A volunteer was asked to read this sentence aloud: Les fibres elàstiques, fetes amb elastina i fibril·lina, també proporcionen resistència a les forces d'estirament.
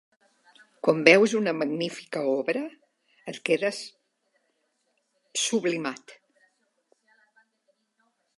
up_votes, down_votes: 0, 2